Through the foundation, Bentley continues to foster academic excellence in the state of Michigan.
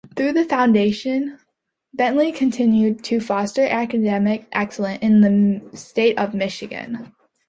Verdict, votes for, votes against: rejected, 1, 2